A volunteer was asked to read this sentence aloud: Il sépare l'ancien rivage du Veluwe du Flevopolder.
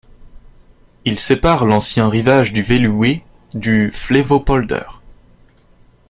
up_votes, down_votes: 1, 2